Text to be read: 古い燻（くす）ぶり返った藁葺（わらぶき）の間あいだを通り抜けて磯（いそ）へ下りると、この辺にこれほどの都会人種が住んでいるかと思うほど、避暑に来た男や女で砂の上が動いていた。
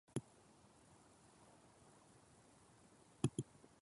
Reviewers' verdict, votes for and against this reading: rejected, 0, 2